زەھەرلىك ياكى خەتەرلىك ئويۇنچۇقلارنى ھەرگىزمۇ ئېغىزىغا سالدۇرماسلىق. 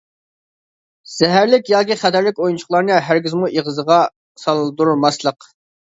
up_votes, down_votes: 2, 0